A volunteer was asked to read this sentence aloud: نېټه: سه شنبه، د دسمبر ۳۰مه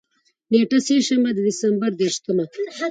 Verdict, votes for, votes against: rejected, 0, 2